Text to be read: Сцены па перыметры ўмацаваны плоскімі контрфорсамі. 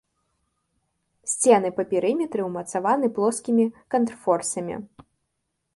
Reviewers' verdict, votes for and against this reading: accepted, 2, 0